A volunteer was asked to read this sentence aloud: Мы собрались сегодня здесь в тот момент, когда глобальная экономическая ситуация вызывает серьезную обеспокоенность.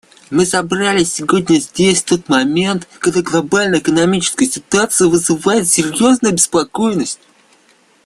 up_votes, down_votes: 2, 0